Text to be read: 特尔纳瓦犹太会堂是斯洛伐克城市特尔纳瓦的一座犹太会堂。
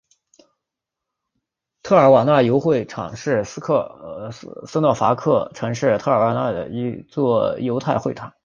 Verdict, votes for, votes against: rejected, 1, 2